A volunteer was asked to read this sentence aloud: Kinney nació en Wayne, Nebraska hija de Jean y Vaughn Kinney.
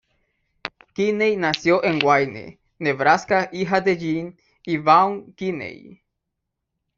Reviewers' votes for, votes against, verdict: 1, 2, rejected